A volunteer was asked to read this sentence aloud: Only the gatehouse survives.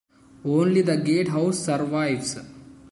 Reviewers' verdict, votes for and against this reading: rejected, 0, 2